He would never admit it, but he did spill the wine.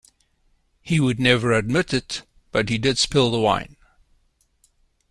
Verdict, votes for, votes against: accepted, 2, 0